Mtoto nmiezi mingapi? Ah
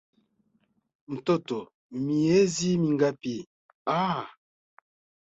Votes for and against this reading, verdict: 2, 0, accepted